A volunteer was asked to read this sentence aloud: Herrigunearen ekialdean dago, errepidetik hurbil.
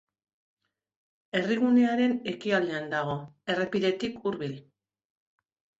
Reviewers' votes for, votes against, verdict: 2, 0, accepted